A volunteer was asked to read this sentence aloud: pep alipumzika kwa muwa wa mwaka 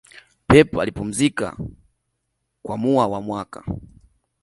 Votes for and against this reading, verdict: 2, 0, accepted